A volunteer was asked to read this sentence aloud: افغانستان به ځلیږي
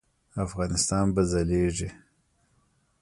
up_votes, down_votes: 0, 2